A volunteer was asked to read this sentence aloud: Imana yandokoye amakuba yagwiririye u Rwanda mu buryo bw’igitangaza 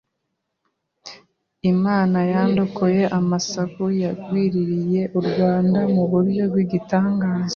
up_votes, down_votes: 1, 2